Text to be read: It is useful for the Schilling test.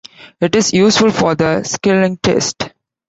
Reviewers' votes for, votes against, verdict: 2, 0, accepted